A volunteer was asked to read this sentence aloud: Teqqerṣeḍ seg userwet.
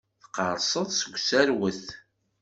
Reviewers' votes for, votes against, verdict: 2, 0, accepted